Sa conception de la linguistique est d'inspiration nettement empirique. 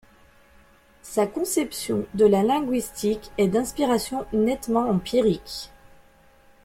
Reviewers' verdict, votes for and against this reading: accepted, 2, 0